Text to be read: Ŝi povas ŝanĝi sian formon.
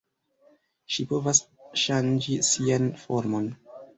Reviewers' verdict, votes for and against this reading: accepted, 2, 1